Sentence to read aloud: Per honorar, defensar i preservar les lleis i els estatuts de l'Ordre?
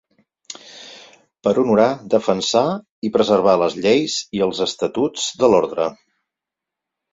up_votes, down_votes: 2, 4